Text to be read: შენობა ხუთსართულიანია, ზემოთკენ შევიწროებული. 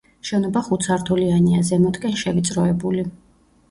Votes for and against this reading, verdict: 2, 1, accepted